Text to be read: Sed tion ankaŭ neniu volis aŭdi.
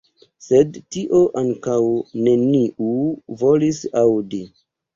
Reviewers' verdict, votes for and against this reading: rejected, 0, 2